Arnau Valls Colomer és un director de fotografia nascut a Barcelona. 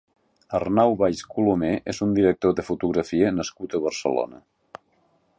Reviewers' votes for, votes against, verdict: 2, 0, accepted